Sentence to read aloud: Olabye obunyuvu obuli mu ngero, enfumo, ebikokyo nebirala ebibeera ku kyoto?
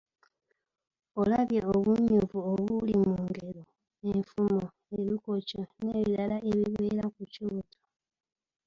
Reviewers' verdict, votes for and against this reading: rejected, 0, 2